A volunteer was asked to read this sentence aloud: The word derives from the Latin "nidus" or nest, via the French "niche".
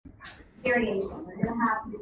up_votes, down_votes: 0, 2